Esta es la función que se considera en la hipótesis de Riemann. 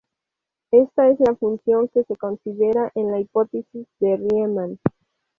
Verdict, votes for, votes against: rejected, 2, 2